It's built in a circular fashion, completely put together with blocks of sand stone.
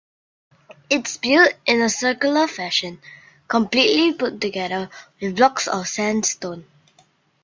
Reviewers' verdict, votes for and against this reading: accepted, 2, 0